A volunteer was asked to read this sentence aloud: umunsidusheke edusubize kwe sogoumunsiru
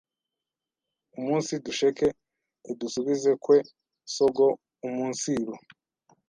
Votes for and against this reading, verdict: 1, 2, rejected